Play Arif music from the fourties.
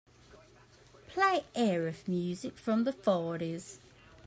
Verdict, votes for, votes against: accepted, 2, 0